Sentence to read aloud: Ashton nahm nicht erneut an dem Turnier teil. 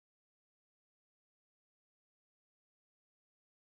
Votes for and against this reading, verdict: 0, 4, rejected